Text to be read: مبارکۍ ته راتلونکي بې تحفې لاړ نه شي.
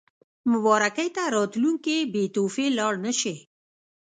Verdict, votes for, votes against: accepted, 2, 0